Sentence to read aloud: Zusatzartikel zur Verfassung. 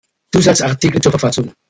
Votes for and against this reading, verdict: 1, 2, rejected